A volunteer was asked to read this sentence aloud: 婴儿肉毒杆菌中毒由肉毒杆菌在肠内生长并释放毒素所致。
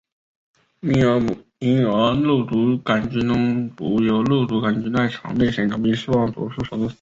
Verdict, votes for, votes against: accepted, 3, 0